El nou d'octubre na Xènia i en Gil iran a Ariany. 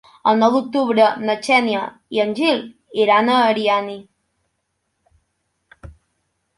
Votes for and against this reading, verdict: 0, 2, rejected